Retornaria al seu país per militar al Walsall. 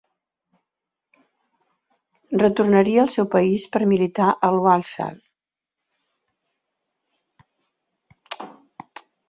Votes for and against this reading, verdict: 2, 0, accepted